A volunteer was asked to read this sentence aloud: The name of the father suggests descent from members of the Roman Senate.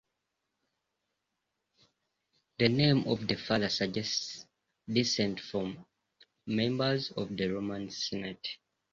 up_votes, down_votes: 1, 2